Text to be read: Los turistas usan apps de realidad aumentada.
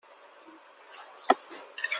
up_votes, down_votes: 0, 2